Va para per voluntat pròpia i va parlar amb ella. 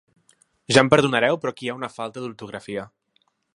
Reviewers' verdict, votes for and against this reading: rejected, 0, 2